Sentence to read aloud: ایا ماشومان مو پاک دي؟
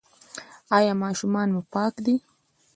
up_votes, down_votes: 0, 2